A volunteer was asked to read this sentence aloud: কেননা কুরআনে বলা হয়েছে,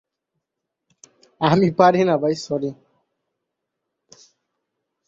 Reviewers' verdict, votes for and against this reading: rejected, 0, 4